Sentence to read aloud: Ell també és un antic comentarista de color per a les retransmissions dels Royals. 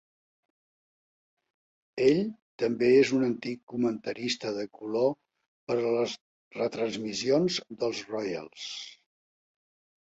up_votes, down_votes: 3, 0